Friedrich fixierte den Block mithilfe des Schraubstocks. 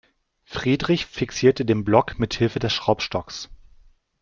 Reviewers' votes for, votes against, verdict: 2, 0, accepted